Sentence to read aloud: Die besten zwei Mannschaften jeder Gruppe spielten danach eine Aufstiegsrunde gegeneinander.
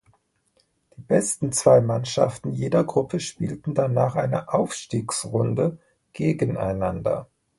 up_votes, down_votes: 0, 2